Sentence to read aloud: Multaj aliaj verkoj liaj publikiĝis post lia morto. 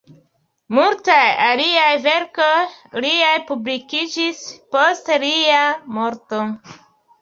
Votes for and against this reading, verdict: 2, 0, accepted